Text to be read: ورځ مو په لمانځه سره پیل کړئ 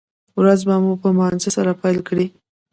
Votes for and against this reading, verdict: 1, 3, rejected